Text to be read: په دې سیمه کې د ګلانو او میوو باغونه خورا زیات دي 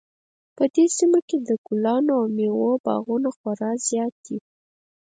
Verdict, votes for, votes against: rejected, 2, 4